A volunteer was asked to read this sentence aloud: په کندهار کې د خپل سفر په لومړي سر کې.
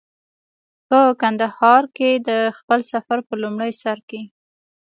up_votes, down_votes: 2, 1